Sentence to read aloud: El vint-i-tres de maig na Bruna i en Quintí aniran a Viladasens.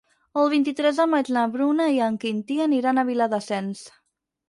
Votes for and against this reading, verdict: 6, 0, accepted